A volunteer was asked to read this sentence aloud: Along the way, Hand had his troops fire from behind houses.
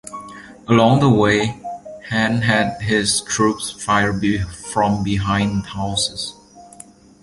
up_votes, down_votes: 1, 2